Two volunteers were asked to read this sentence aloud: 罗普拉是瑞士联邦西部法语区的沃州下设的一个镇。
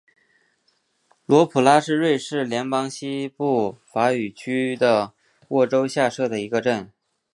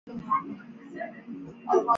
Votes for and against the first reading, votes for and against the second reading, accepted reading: 2, 0, 1, 3, first